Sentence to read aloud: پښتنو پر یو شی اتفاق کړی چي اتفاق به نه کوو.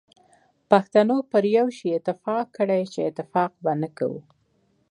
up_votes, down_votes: 2, 0